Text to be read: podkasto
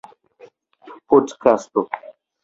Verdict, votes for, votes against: accepted, 2, 0